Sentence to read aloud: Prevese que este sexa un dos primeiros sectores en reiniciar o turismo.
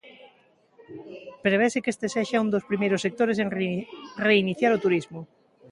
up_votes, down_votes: 0, 2